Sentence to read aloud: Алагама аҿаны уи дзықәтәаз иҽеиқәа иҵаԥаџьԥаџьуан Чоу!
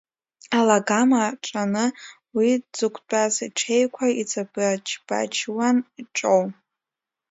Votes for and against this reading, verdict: 0, 3, rejected